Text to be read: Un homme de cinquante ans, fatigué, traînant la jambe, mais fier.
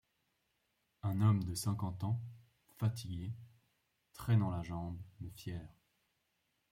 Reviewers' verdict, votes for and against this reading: accepted, 2, 0